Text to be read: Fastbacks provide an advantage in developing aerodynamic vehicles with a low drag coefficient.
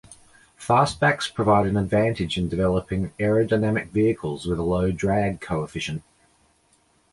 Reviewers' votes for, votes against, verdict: 2, 0, accepted